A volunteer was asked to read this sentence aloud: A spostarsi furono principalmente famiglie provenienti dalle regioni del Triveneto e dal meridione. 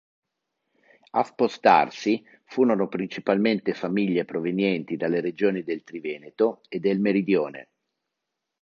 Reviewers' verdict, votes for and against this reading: rejected, 2, 3